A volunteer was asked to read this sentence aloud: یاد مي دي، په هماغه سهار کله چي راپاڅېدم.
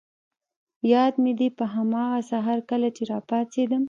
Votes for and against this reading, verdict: 1, 2, rejected